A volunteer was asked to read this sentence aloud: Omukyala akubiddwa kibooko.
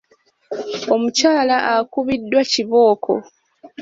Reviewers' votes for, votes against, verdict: 2, 0, accepted